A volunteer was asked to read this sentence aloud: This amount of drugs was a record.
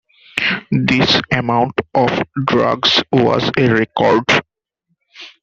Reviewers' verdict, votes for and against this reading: accepted, 2, 1